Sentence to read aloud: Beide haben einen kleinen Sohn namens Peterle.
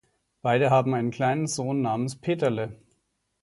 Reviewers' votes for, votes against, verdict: 2, 0, accepted